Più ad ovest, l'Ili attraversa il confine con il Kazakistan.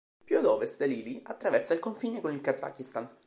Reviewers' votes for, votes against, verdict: 1, 2, rejected